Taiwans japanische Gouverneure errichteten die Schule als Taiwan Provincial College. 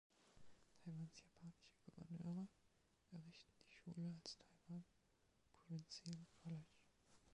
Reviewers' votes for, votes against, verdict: 0, 2, rejected